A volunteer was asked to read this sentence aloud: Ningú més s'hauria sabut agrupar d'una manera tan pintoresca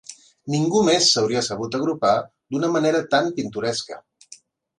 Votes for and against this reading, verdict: 2, 0, accepted